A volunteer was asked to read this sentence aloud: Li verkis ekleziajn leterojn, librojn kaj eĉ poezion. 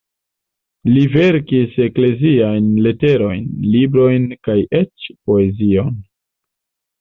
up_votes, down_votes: 2, 0